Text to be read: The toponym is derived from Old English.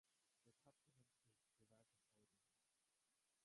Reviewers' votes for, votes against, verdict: 0, 4, rejected